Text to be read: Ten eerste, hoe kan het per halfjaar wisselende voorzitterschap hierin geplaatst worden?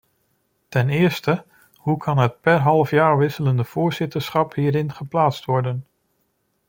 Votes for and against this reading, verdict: 2, 0, accepted